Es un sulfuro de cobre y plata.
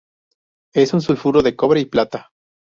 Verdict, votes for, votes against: accepted, 2, 0